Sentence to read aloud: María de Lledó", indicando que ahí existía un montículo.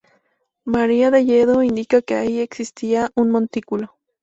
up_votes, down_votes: 4, 0